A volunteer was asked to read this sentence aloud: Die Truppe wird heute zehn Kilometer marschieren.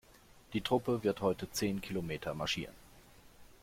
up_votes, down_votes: 2, 0